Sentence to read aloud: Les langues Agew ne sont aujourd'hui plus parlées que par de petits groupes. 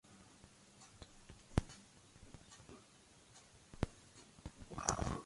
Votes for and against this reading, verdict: 0, 2, rejected